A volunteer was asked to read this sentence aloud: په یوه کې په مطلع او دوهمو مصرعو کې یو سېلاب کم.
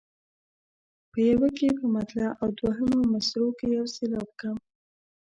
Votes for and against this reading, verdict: 2, 0, accepted